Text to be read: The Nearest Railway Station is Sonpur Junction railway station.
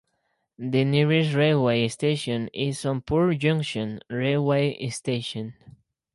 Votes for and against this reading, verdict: 2, 4, rejected